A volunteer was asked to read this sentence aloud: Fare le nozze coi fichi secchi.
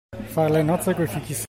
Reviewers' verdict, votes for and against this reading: rejected, 1, 2